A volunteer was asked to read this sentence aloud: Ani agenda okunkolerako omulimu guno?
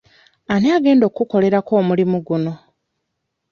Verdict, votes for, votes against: rejected, 1, 2